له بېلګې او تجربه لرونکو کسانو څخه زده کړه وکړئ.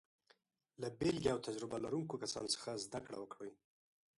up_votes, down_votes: 2, 0